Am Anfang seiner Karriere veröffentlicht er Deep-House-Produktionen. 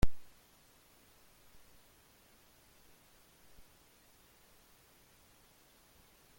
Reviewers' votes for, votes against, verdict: 0, 3, rejected